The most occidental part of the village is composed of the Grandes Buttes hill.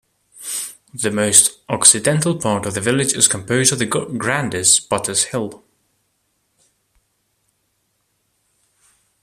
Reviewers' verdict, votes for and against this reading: rejected, 1, 2